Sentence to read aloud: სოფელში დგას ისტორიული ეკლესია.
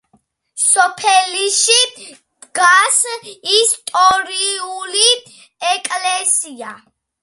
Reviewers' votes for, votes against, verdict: 2, 0, accepted